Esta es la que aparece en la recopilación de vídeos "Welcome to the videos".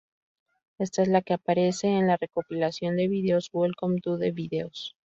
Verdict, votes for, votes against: rejected, 0, 2